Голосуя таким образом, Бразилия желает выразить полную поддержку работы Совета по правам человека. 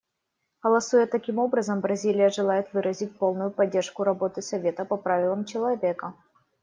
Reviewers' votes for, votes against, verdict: 0, 2, rejected